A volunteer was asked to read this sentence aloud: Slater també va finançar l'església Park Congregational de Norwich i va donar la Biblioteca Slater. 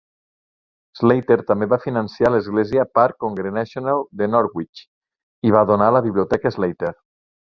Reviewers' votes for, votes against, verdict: 3, 0, accepted